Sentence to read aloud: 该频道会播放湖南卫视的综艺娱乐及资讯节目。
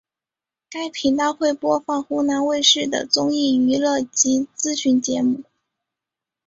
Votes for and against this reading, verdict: 2, 0, accepted